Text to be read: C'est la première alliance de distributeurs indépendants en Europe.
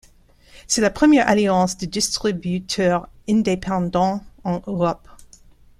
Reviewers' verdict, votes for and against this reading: rejected, 1, 2